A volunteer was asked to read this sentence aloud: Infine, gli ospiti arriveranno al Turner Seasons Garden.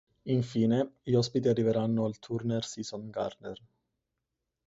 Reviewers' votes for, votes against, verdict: 2, 2, rejected